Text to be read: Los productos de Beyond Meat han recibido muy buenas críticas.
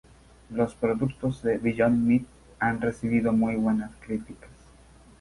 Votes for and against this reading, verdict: 0, 2, rejected